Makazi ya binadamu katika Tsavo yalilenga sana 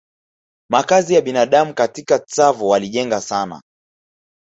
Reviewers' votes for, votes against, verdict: 1, 2, rejected